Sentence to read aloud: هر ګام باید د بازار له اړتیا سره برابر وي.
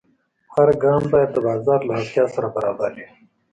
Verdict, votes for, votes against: accepted, 2, 0